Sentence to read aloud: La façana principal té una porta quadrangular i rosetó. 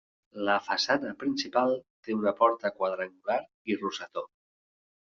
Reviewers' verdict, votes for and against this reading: accepted, 2, 0